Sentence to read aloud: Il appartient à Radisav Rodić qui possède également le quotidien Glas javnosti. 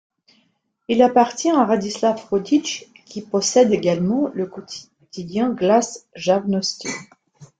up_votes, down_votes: 1, 2